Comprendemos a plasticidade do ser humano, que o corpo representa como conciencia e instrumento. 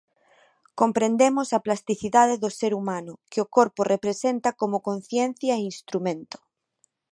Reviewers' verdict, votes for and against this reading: accepted, 3, 0